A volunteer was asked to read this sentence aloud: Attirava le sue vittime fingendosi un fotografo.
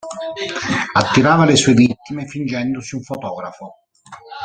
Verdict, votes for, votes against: accepted, 2, 1